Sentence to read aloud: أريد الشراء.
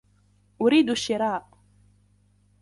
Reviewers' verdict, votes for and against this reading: rejected, 1, 2